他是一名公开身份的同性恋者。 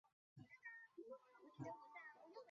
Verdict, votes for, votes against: rejected, 0, 3